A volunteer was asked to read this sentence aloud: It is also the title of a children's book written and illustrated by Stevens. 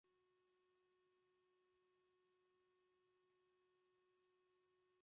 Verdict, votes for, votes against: rejected, 0, 2